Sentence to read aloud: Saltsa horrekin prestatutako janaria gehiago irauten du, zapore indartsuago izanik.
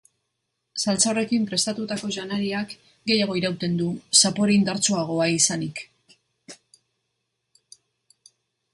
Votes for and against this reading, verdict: 2, 0, accepted